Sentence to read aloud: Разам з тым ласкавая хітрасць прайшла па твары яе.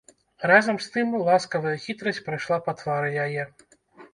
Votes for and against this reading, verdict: 1, 2, rejected